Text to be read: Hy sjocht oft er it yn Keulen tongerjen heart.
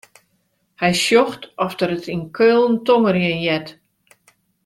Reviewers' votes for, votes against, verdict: 2, 0, accepted